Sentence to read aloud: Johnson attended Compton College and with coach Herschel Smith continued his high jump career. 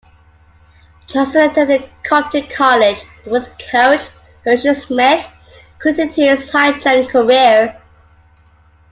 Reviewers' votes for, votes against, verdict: 0, 2, rejected